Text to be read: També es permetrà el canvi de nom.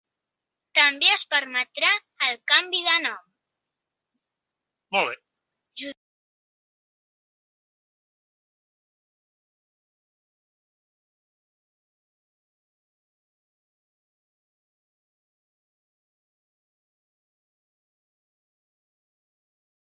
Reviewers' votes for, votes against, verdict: 0, 2, rejected